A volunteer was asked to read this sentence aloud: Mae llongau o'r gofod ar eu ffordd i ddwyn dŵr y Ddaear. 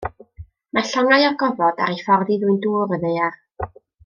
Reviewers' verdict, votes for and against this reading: accepted, 2, 0